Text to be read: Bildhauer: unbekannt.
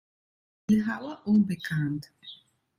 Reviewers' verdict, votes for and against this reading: rejected, 0, 2